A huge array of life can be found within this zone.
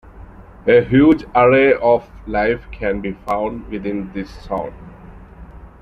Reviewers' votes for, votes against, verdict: 2, 1, accepted